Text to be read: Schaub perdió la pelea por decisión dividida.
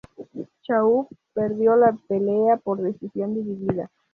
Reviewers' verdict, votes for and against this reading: accepted, 2, 0